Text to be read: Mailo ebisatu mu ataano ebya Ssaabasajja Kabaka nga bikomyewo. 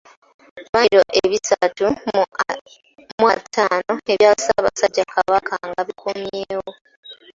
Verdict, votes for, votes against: rejected, 0, 2